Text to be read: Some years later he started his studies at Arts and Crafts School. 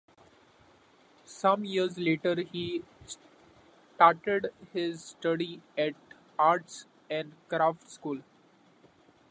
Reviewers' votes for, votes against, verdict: 2, 0, accepted